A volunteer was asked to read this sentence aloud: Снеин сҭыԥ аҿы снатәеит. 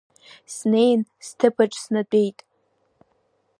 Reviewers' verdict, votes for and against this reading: accepted, 2, 0